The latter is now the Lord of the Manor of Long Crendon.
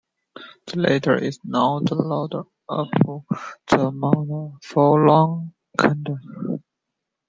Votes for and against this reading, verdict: 0, 2, rejected